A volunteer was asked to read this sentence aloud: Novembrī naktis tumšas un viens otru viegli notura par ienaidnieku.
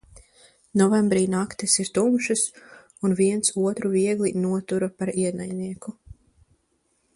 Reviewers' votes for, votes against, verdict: 0, 2, rejected